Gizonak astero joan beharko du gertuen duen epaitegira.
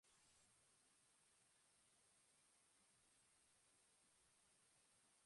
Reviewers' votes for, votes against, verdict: 0, 2, rejected